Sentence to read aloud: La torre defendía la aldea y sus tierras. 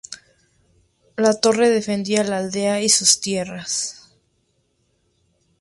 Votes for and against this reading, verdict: 2, 0, accepted